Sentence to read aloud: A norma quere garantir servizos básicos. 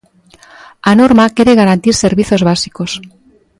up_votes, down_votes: 2, 0